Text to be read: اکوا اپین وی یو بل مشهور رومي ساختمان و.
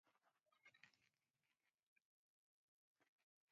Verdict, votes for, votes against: rejected, 0, 4